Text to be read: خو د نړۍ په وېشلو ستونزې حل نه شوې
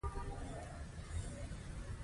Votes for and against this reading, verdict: 2, 0, accepted